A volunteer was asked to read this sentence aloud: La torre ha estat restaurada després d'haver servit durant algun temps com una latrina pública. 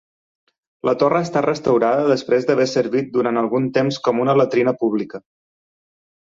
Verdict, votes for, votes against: accepted, 2, 0